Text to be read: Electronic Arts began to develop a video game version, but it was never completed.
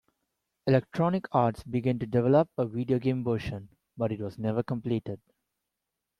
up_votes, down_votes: 0, 2